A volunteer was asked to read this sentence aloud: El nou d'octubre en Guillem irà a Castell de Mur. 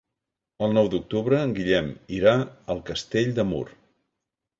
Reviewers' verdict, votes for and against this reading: rejected, 0, 2